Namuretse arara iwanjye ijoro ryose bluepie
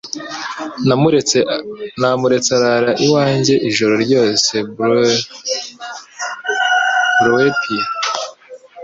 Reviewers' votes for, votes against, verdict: 2, 0, accepted